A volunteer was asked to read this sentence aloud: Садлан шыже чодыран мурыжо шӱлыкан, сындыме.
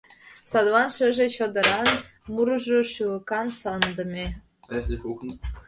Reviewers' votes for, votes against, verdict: 0, 2, rejected